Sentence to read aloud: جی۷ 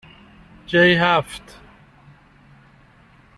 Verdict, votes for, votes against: rejected, 0, 2